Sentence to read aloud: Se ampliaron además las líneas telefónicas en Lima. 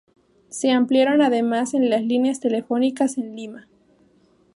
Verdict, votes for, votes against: rejected, 0, 2